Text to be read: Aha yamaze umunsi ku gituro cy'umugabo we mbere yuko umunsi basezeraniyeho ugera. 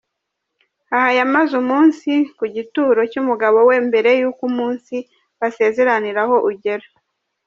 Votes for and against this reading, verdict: 0, 2, rejected